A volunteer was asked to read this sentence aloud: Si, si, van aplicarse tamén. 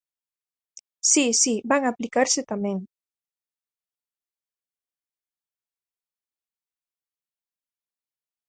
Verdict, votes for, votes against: accepted, 4, 0